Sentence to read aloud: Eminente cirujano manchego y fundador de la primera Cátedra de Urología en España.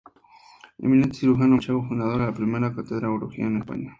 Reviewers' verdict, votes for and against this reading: rejected, 0, 2